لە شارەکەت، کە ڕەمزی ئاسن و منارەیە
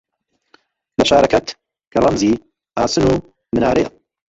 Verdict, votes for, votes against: rejected, 0, 2